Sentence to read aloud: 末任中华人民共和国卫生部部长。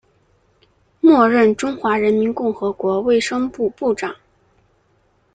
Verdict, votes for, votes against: accepted, 2, 0